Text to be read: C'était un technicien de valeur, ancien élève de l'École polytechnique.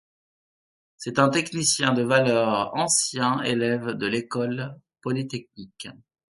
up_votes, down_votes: 2, 0